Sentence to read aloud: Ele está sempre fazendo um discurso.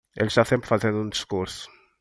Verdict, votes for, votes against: accepted, 2, 0